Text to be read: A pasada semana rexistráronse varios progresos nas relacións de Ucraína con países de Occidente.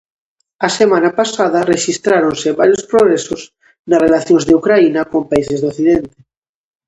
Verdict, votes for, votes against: rejected, 0, 2